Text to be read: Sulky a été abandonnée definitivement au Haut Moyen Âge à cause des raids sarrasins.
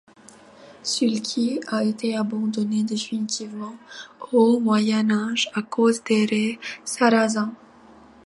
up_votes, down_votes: 0, 2